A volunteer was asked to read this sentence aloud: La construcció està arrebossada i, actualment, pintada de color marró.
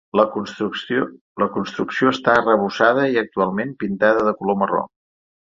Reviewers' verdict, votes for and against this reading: rejected, 1, 2